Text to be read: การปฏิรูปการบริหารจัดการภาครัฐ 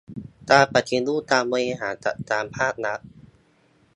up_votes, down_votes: 1, 2